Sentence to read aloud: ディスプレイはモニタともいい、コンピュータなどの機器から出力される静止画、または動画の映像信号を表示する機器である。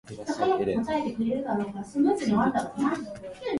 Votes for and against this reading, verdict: 0, 2, rejected